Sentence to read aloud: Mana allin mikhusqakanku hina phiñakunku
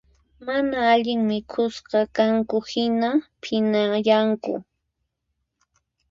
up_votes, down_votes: 2, 4